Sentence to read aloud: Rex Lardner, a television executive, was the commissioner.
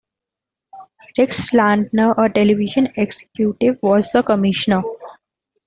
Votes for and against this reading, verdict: 2, 1, accepted